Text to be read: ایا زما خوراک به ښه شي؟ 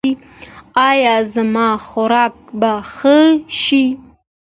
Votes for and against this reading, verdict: 2, 0, accepted